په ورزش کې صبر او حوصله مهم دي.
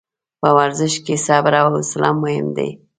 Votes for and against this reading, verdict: 1, 2, rejected